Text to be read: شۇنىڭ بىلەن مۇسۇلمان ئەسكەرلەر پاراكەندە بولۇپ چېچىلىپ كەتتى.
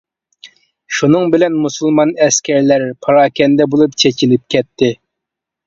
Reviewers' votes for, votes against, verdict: 2, 0, accepted